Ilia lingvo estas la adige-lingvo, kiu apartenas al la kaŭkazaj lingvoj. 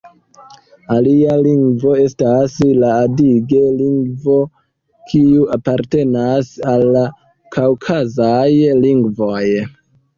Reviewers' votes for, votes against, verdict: 1, 2, rejected